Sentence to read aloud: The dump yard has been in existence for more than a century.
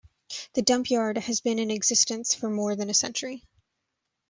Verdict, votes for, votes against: accepted, 2, 0